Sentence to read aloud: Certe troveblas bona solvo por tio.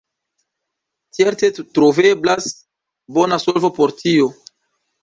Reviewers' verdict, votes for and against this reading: accepted, 2, 0